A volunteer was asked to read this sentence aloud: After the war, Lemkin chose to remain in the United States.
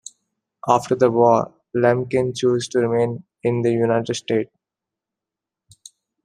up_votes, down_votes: 2, 1